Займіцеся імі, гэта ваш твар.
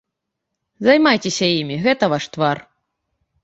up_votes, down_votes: 0, 2